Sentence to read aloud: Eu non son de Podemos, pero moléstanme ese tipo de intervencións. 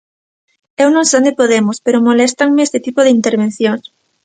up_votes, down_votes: 1, 2